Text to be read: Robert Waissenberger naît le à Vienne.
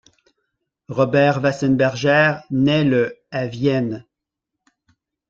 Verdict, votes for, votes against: accepted, 2, 0